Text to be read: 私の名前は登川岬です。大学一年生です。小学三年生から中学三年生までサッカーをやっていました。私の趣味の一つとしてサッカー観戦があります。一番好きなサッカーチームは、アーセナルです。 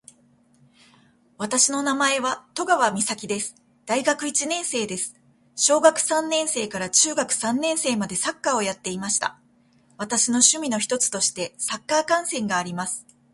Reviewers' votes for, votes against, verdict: 2, 1, accepted